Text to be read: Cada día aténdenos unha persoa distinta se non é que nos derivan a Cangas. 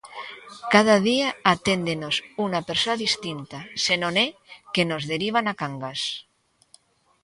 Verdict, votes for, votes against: rejected, 1, 2